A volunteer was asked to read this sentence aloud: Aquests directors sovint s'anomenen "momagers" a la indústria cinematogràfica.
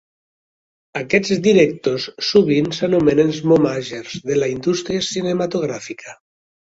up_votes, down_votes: 1, 2